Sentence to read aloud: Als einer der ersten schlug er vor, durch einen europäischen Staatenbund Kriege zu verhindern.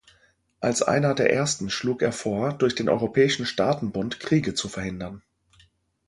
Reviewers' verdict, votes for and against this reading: rejected, 1, 2